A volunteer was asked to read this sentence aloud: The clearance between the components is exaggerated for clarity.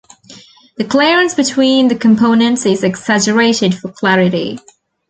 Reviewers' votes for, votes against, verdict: 2, 1, accepted